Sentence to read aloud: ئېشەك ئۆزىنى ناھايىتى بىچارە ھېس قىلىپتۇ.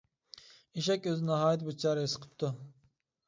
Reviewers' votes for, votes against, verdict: 0, 2, rejected